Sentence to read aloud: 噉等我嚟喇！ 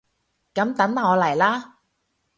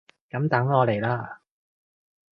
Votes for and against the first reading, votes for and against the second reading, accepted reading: 0, 2, 2, 0, second